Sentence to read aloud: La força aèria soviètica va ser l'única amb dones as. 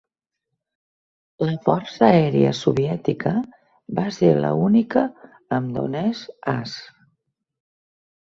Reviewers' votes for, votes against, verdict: 0, 2, rejected